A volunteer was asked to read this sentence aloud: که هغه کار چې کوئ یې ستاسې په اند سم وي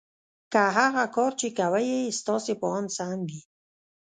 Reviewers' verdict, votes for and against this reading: rejected, 0, 2